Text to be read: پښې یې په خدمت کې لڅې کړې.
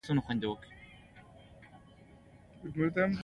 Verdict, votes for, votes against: rejected, 1, 2